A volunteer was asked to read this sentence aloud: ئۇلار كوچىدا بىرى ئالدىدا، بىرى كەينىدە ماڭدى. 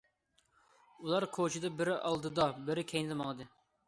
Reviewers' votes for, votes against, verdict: 2, 0, accepted